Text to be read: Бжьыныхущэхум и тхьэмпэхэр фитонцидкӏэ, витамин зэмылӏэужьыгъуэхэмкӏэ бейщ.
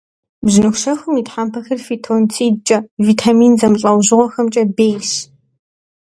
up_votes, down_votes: 2, 0